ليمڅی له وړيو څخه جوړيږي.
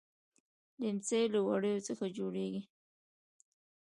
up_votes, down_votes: 2, 0